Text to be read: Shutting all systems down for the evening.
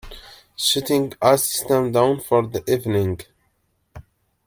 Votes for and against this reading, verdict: 0, 2, rejected